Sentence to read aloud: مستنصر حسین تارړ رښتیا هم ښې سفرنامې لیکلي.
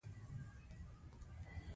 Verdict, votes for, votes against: rejected, 0, 2